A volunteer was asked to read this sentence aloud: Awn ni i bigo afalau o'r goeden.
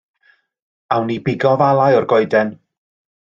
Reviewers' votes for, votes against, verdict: 2, 0, accepted